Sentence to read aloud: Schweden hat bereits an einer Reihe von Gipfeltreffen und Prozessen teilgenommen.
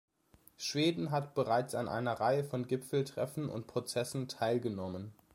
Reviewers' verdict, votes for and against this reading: accepted, 2, 0